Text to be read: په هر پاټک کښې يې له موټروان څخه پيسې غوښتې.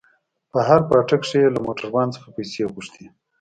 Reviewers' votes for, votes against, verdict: 1, 2, rejected